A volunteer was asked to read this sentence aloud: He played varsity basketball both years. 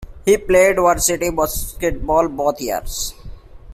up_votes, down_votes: 2, 0